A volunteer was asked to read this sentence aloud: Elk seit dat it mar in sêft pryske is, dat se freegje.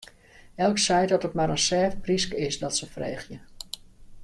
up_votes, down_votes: 2, 0